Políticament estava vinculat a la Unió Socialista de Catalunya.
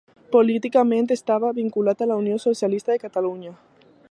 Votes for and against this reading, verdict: 3, 0, accepted